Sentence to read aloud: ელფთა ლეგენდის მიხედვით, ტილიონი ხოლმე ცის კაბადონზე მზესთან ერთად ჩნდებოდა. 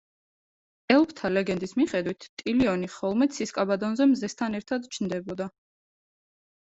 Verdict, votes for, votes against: rejected, 0, 2